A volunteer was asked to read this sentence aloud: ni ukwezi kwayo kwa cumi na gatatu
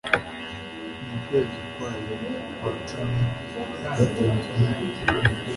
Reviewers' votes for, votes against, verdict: 1, 2, rejected